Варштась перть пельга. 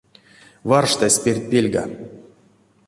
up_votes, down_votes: 2, 0